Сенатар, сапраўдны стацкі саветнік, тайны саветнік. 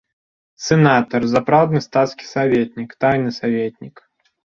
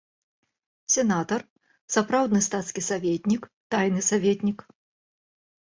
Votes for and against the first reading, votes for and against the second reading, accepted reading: 0, 2, 3, 0, second